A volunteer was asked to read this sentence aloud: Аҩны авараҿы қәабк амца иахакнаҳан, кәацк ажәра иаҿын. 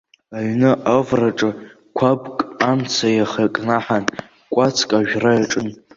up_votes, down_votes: 2, 1